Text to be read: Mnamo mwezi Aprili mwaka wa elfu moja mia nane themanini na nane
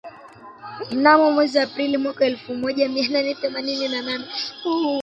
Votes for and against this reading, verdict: 0, 2, rejected